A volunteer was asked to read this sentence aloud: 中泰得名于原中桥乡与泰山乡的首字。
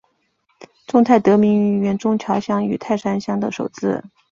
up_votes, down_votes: 1, 2